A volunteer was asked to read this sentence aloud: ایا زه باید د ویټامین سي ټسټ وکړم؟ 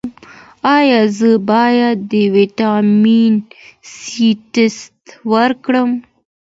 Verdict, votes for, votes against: accepted, 2, 0